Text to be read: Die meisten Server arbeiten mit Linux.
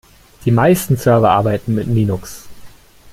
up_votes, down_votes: 2, 0